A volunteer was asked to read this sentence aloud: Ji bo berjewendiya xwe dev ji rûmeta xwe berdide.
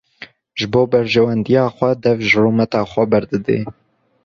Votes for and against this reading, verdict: 1, 2, rejected